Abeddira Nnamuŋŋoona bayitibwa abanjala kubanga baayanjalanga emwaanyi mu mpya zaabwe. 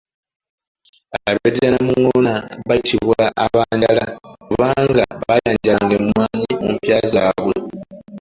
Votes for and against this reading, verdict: 0, 2, rejected